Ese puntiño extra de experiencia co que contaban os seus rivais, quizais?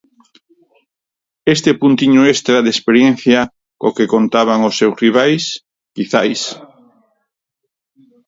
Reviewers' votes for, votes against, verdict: 0, 4, rejected